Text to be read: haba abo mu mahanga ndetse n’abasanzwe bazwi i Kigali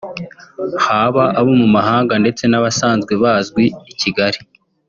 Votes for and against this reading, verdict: 2, 0, accepted